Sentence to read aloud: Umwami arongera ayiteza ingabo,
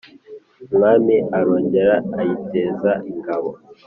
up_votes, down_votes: 2, 0